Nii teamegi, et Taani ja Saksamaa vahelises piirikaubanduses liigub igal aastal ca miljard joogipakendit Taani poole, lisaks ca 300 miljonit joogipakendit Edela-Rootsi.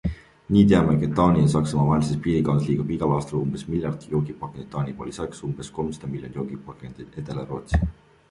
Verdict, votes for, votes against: rejected, 0, 2